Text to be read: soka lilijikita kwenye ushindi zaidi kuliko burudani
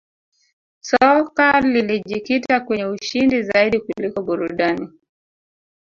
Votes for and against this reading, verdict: 0, 2, rejected